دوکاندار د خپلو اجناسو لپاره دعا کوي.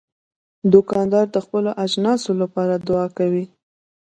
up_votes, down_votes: 2, 0